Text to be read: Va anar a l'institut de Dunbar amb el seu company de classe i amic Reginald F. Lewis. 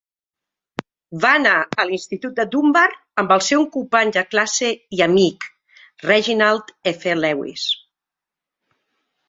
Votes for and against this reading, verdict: 2, 1, accepted